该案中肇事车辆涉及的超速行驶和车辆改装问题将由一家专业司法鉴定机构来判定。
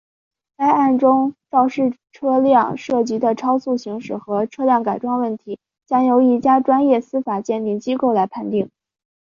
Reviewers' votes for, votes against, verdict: 2, 0, accepted